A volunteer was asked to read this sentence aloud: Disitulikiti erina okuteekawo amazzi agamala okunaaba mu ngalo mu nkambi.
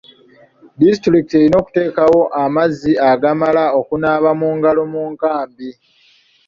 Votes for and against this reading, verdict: 3, 0, accepted